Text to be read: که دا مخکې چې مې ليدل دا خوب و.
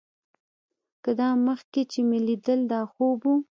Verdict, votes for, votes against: rejected, 1, 2